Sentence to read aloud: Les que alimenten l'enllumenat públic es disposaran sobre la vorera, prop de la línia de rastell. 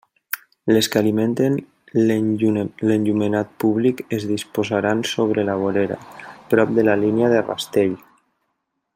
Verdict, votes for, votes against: rejected, 1, 2